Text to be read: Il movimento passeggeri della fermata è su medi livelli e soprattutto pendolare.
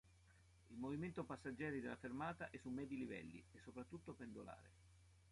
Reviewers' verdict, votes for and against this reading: accepted, 2, 1